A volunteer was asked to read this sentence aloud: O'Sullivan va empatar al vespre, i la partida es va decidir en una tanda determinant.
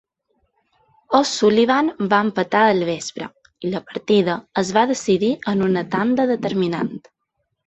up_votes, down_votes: 2, 0